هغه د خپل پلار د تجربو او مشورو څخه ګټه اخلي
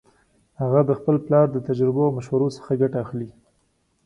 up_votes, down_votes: 2, 1